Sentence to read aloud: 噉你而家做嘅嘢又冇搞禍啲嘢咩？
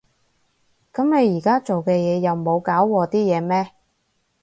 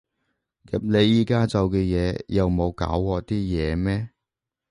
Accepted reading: first